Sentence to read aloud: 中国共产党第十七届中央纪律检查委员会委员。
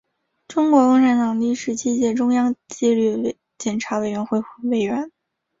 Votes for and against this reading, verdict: 1, 2, rejected